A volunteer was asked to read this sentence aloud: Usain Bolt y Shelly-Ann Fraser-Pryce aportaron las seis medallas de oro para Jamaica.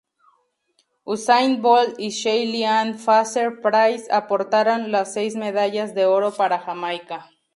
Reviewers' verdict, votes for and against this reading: rejected, 2, 2